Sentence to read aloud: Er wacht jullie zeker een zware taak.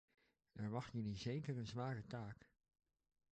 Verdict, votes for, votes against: accepted, 2, 0